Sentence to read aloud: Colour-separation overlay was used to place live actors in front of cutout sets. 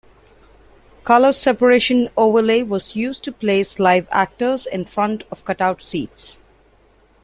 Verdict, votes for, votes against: rejected, 1, 2